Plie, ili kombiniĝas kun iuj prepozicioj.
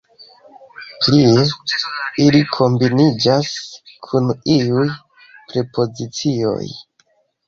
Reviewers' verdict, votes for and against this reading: accepted, 2, 0